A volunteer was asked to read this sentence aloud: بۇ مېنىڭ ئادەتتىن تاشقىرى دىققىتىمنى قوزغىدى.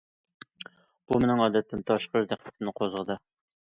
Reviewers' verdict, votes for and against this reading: accepted, 2, 0